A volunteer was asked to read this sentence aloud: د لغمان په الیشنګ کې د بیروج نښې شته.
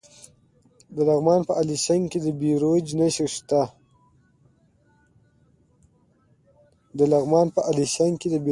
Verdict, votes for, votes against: accepted, 2, 0